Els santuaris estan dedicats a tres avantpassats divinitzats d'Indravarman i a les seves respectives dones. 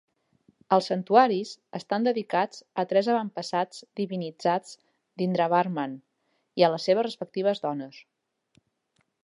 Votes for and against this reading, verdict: 3, 0, accepted